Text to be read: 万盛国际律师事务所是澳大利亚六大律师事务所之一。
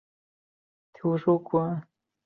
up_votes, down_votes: 0, 4